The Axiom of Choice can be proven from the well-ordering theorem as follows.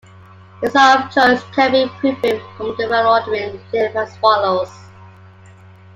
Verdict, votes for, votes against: rejected, 0, 2